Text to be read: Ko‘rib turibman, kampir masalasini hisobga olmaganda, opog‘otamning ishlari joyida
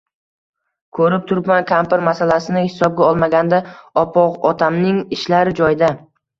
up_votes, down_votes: 2, 0